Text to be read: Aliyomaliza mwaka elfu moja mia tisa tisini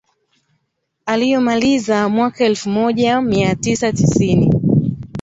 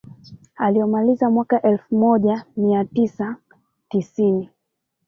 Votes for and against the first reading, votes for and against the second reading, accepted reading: 2, 0, 1, 2, first